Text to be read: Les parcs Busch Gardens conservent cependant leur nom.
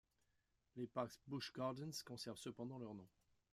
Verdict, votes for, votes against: rejected, 0, 2